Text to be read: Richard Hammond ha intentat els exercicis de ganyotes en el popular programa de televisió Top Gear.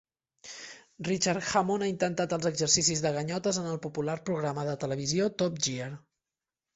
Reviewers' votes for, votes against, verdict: 1, 2, rejected